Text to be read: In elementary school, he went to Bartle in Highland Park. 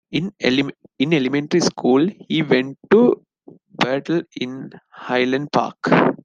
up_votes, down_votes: 0, 2